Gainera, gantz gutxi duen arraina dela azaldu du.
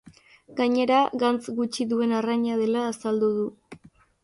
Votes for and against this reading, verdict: 3, 0, accepted